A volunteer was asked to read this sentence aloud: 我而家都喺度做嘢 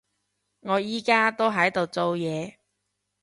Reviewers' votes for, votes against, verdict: 1, 2, rejected